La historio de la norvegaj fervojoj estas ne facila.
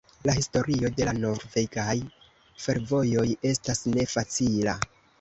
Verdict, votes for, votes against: rejected, 1, 2